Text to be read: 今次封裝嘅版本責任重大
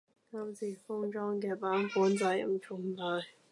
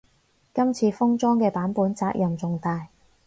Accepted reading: second